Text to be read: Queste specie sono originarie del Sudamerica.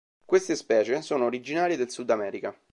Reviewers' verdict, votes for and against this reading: accepted, 2, 0